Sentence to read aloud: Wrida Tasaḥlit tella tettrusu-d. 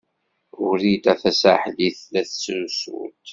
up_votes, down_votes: 2, 1